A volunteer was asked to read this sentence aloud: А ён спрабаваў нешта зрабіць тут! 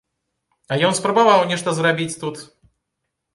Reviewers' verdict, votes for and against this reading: accepted, 2, 0